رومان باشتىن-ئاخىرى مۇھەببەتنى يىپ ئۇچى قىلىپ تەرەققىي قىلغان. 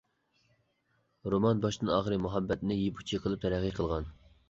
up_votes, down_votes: 2, 0